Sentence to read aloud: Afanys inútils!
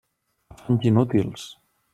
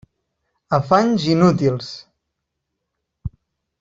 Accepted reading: second